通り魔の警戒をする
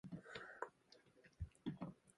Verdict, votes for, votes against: rejected, 0, 2